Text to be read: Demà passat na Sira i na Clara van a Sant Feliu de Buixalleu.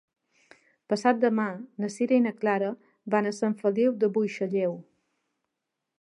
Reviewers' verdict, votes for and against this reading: rejected, 0, 2